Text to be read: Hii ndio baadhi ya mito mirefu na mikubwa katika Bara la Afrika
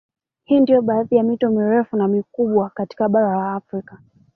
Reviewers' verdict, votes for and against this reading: accepted, 2, 1